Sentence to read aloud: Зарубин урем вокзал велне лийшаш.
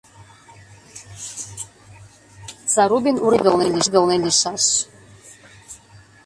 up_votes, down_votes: 0, 3